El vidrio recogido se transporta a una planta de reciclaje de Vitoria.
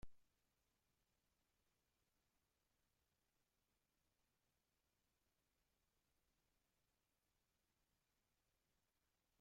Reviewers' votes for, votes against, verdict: 0, 2, rejected